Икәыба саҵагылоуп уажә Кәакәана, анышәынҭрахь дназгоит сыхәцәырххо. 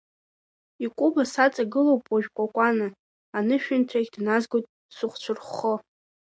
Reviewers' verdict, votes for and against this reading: accepted, 2, 1